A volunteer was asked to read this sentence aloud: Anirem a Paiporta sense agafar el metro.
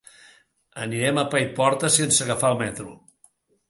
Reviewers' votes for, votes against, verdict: 2, 0, accepted